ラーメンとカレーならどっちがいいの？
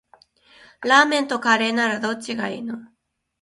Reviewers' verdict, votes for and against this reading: accepted, 2, 1